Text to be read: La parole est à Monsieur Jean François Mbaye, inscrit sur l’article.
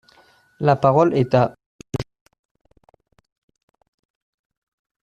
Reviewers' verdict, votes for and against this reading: rejected, 0, 2